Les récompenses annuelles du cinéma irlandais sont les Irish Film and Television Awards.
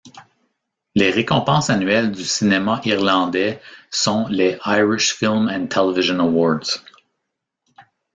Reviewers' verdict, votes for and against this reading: accepted, 2, 0